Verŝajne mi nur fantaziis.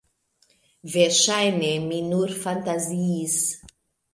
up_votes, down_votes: 2, 0